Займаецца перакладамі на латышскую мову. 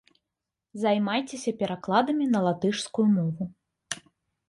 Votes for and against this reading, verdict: 1, 2, rejected